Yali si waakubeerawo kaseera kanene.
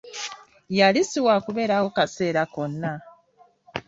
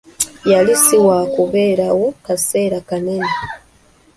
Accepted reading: second